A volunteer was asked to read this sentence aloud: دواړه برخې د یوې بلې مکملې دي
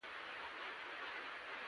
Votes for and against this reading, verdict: 0, 2, rejected